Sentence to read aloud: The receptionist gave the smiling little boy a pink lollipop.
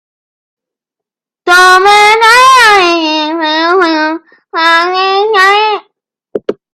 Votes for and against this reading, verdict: 0, 2, rejected